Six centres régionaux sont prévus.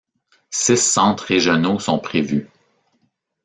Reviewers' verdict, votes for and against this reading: rejected, 0, 2